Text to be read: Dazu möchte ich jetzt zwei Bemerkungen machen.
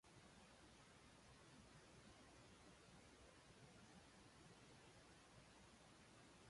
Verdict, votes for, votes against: rejected, 0, 2